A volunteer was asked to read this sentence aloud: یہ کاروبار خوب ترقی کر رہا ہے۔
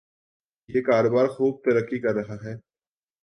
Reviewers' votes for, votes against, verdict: 4, 0, accepted